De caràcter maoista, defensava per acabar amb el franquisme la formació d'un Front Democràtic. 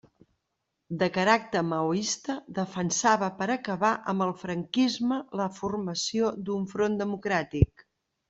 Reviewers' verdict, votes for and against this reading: accepted, 3, 0